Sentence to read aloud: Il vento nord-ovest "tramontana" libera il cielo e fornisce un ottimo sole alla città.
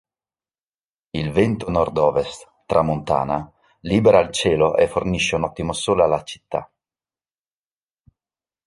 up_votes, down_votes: 2, 0